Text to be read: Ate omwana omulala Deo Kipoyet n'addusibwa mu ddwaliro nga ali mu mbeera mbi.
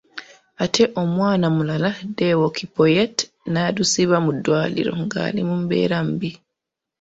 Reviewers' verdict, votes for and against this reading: accepted, 2, 0